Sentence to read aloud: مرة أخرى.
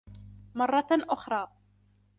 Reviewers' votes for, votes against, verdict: 2, 0, accepted